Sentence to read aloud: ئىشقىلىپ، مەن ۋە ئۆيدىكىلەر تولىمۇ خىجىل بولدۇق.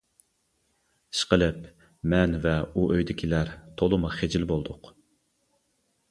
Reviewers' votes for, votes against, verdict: 0, 2, rejected